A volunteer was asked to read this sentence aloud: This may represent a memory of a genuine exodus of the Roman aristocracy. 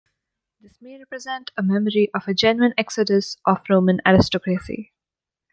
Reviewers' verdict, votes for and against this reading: rejected, 1, 2